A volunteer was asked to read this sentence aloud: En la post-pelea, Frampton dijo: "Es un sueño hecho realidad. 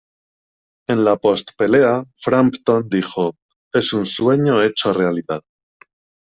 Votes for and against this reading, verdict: 2, 0, accepted